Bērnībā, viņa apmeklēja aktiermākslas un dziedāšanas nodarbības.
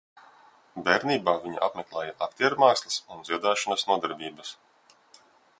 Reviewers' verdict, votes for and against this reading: rejected, 1, 2